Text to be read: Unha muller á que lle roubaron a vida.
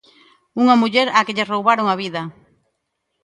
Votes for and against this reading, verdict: 2, 0, accepted